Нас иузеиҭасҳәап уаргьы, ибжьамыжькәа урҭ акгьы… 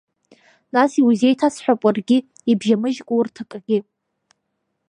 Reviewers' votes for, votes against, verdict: 1, 2, rejected